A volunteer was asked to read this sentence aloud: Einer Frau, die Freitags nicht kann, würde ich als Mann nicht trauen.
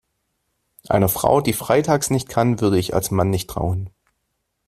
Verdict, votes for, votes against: accepted, 2, 1